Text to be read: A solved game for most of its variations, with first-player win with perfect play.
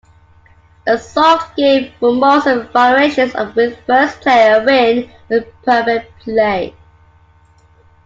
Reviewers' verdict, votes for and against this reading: accepted, 2, 0